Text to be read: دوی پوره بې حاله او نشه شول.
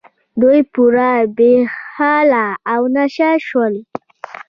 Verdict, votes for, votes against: accepted, 2, 0